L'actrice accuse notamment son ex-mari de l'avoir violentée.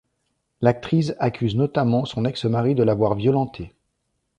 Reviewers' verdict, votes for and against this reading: rejected, 0, 2